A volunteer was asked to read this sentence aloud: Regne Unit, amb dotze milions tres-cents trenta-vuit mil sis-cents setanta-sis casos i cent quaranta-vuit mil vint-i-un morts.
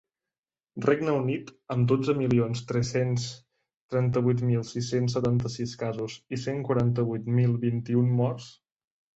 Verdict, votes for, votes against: accepted, 3, 0